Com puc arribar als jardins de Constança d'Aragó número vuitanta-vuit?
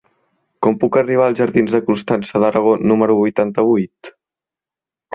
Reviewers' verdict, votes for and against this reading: accepted, 4, 0